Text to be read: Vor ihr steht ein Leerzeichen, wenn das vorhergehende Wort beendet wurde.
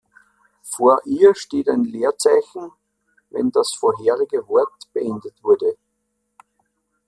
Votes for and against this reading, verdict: 0, 2, rejected